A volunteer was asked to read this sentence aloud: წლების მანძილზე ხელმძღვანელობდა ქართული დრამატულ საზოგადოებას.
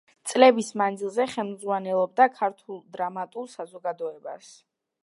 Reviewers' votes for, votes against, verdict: 2, 0, accepted